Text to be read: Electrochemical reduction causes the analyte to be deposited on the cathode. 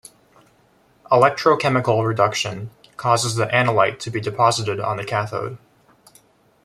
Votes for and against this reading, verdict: 2, 0, accepted